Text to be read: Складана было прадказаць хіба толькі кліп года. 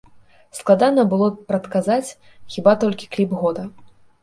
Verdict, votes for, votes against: accepted, 2, 0